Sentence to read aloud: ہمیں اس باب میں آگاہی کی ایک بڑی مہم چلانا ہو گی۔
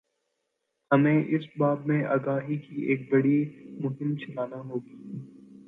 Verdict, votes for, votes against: accepted, 2, 1